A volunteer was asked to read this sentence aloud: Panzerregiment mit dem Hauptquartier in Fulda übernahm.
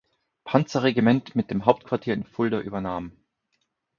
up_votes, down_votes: 4, 0